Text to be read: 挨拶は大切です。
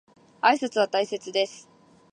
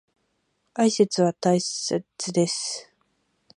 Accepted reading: first